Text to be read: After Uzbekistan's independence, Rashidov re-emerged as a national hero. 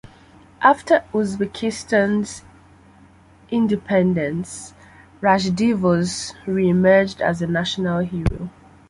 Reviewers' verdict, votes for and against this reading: accepted, 2, 1